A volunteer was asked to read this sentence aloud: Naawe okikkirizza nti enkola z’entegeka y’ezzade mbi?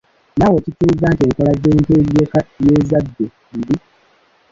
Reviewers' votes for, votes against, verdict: 1, 2, rejected